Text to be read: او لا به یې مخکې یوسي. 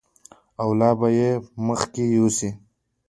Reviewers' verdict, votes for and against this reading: accepted, 2, 0